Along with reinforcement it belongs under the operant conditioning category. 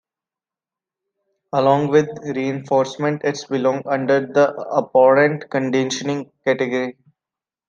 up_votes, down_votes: 0, 2